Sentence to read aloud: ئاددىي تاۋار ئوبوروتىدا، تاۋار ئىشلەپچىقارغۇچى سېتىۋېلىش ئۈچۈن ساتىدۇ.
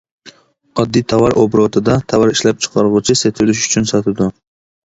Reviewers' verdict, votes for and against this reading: accepted, 2, 0